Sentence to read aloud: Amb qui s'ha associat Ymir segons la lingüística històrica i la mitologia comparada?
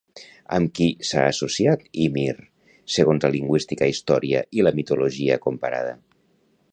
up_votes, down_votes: 1, 2